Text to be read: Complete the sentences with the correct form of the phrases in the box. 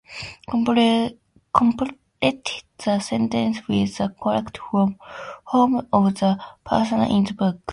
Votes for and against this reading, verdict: 2, 2, rejected